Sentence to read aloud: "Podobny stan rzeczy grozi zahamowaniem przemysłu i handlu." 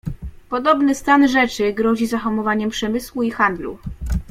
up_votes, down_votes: 2, 0